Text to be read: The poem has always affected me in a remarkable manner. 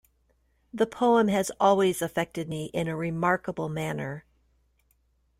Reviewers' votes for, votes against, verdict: 2, 0, accepted